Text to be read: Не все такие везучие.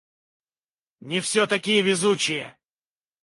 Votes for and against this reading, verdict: 0, 2, rejected